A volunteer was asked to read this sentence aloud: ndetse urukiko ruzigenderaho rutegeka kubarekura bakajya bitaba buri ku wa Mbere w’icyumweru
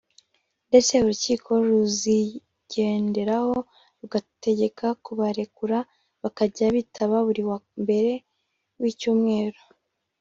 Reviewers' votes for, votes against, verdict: 1, 2, rejected